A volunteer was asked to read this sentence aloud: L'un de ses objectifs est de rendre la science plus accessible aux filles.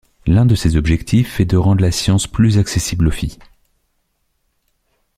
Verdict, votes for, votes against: accepted, 2, 0